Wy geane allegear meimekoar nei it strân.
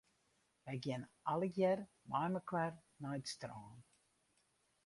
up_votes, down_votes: 0, 4